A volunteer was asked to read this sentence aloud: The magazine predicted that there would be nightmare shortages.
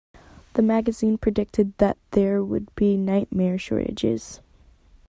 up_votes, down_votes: 2, 0